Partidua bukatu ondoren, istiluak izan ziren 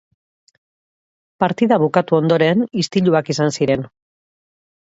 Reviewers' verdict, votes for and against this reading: rejected, 0, 2